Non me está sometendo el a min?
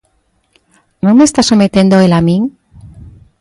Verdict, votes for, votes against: accepted, 2, 0